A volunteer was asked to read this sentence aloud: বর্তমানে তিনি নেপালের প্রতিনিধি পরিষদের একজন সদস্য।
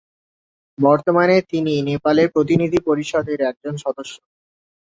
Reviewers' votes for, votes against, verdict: 3, 0, accepted